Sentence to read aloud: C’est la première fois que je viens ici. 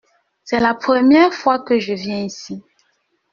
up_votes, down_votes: 2, 0